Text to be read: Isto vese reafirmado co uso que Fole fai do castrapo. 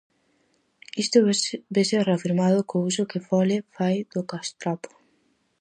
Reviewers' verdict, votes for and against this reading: rejected, 2, 2